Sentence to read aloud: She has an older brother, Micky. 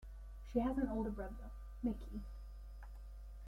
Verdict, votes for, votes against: accepted, 2, 0